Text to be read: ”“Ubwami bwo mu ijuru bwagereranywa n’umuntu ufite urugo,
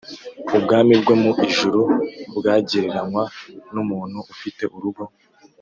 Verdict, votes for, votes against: accepted, 2, 0